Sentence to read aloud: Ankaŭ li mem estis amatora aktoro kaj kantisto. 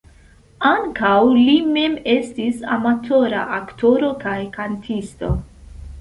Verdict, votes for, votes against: accepted, 2, 0